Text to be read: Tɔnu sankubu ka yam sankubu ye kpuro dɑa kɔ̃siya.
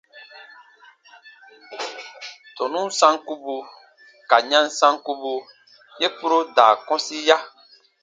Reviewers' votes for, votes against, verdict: 1, 2, rejected